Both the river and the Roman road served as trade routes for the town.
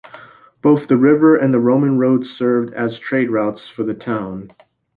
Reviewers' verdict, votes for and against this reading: accepted, 2, 0